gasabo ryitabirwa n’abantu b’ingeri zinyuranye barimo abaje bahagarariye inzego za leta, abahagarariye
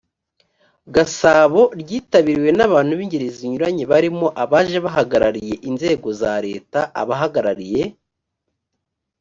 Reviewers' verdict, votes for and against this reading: rejected, 1, 2